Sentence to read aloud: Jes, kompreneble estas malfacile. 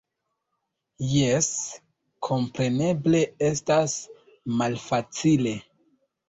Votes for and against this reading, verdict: 0, 2, rejected